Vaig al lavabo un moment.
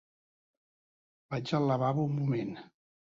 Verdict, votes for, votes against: accepted, 2, 1